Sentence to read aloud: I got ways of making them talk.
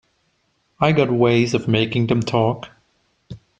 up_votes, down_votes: 3, 0